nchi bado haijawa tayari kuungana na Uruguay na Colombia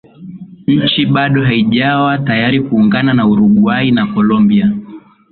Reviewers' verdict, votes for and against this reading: accepted, 3, 0